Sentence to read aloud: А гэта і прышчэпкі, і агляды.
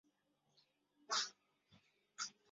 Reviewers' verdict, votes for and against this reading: rejected, 0, 3